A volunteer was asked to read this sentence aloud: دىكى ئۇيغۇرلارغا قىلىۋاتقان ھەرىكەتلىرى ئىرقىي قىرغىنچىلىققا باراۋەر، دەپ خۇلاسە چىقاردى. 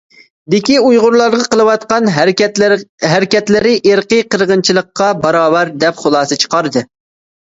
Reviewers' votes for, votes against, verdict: 1, 2, rejected